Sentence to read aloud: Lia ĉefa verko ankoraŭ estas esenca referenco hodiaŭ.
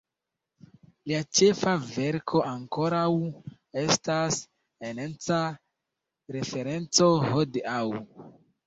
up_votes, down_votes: 0, 2